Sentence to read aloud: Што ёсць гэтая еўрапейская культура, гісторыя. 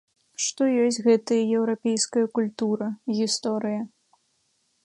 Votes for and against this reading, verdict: 3, 0, accepted